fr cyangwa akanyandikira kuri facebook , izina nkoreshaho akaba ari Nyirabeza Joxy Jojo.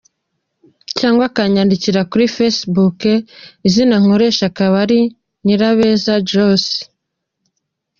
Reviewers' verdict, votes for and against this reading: rejected, 1, 2